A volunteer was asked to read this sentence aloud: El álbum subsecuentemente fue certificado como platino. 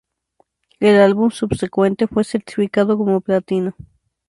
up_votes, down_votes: 4, 0